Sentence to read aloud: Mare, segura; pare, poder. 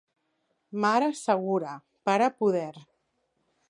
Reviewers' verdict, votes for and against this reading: accepted, 2, 0